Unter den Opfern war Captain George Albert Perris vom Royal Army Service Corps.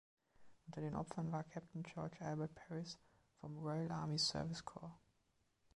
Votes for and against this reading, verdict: 2, 0, accepted